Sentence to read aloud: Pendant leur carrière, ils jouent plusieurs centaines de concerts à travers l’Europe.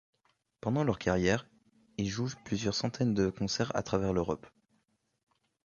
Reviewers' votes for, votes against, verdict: 1, 2, rejected